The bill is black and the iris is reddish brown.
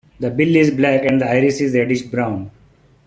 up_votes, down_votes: 2, 0